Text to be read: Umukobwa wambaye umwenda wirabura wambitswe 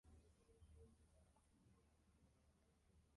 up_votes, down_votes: 0, 2